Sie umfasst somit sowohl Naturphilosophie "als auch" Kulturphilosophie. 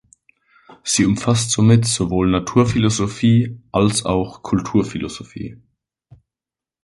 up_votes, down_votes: 2, 0